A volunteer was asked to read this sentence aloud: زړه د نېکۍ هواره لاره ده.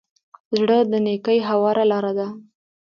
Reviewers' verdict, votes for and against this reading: rejected, 1, 2